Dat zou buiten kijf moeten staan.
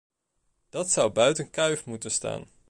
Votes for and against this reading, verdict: 0, 2, rejected